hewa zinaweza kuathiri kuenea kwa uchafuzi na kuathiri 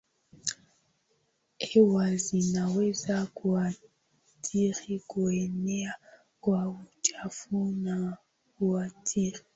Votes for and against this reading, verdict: 0, 2, rejected